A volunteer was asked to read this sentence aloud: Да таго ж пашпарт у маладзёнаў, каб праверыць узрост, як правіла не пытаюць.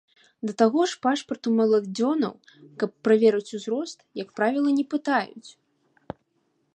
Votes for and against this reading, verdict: 0, 2, rejected